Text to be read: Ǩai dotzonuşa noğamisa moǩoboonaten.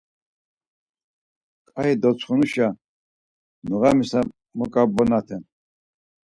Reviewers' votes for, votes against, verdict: 2, 4, rejected